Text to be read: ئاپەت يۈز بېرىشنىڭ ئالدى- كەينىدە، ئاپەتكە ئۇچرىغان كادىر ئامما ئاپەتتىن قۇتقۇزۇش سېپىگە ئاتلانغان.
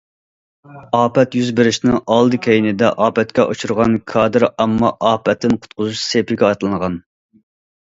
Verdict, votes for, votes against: accepted, 2, 0